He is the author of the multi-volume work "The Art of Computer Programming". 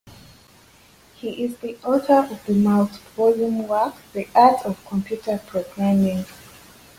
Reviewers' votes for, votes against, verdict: 1, 3, rejected